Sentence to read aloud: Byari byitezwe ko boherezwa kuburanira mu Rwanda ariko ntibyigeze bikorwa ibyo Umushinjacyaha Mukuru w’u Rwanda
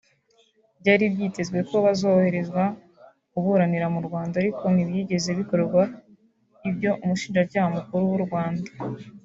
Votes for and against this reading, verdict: 2, 0, accepted